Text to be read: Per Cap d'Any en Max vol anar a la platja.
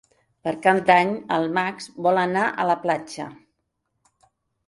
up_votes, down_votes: 0, 2